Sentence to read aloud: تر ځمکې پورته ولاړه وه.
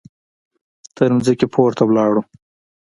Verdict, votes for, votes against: rejected, 1, 2